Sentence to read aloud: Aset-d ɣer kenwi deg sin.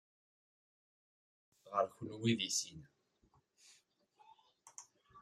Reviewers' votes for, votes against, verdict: 0, 2, rejected